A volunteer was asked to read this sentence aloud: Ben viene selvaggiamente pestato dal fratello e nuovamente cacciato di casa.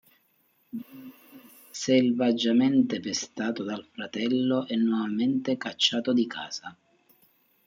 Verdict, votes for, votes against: rejected, 0, 2